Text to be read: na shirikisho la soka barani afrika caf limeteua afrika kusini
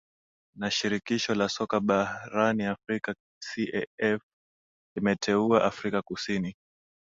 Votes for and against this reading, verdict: 3, 1, accepted